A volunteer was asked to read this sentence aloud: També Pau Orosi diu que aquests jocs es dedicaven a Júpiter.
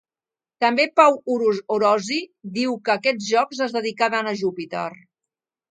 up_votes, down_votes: 0, 2